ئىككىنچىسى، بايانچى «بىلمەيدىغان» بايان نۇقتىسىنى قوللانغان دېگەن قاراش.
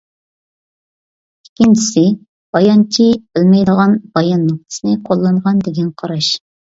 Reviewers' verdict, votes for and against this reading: accepted, 2, 0